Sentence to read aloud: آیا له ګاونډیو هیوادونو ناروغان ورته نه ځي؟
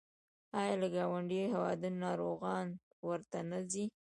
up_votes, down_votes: 0, 2